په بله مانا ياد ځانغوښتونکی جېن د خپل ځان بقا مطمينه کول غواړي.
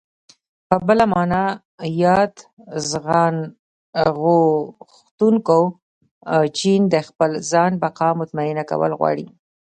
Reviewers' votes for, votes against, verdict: 1, 2, rejected